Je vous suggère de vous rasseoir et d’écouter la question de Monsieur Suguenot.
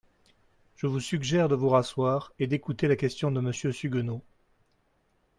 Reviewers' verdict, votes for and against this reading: accepted, 2, 0